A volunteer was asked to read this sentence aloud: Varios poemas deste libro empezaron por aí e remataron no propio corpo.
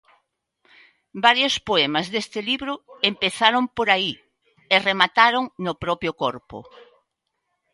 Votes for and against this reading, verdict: 3, 0, accepted